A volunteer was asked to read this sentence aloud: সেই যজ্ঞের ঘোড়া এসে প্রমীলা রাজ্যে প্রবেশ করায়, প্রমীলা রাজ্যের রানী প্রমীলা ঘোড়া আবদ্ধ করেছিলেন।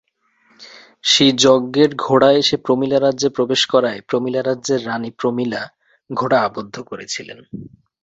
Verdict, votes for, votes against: accepted, 3, 0